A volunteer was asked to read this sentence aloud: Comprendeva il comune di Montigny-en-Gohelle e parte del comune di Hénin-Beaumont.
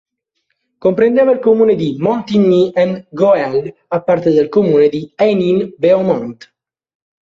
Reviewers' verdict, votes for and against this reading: rejected, 0, 2